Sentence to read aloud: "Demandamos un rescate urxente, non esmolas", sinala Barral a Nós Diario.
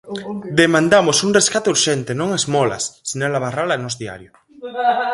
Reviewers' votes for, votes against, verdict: 2, 4, rejected